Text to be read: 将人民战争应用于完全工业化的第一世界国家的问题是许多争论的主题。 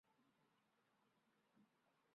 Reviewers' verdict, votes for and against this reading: rejected, 0, 2